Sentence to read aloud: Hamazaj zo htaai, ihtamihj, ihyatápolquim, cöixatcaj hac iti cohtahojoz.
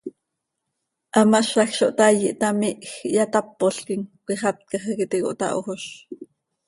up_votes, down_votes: 2, 0